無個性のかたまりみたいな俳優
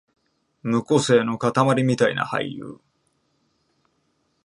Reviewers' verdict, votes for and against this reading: accepted, 2, 0